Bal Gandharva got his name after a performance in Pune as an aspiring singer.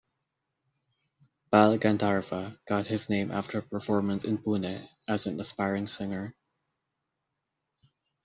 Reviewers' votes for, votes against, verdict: 2, 0, accepted